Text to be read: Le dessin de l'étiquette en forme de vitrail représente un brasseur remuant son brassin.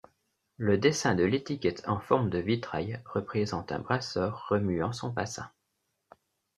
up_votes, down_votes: 0, 2